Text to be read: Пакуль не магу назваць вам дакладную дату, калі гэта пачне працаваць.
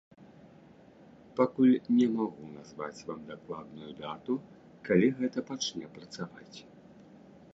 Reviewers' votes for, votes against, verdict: 1, 2, rejected